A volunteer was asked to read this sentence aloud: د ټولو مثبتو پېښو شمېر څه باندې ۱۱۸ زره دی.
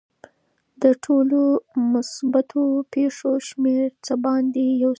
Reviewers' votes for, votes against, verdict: 0, 2, rejected